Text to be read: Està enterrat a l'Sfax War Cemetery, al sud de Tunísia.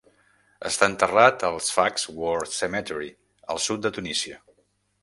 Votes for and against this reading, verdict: 1, 2, rejected